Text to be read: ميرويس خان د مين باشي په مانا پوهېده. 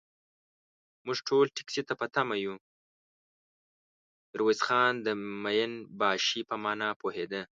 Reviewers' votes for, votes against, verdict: 0, 2, rejected